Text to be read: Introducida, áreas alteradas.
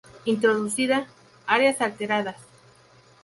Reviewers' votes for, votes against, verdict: 2, 0, accepted